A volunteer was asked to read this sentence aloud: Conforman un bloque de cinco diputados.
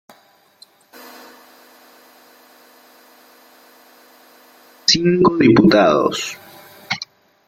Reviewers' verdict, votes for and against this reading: rejected, 0, 2